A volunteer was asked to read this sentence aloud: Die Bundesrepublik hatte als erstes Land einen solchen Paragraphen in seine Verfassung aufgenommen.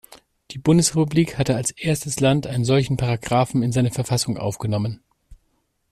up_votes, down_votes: 2, 0